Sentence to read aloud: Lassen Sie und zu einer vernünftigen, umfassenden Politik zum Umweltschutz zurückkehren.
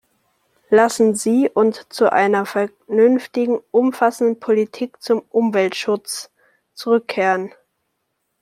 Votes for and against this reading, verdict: 1, 2, rejected